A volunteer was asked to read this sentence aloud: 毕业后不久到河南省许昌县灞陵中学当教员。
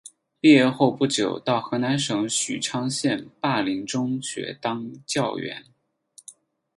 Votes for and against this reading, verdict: 4, 0, accepted